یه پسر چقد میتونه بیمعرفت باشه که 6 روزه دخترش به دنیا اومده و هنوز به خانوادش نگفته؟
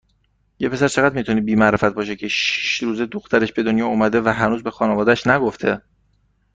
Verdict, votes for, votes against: rejected, 0, 2